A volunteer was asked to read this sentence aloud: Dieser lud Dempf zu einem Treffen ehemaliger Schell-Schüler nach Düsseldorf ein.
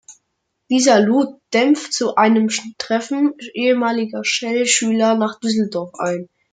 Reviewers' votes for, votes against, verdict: 0, 2, rejected